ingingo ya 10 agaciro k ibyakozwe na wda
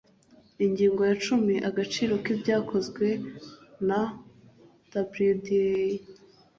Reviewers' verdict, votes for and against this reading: rejected, 0, 2